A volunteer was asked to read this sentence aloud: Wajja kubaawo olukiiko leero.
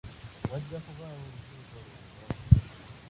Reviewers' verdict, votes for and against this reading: rejected, 0, 2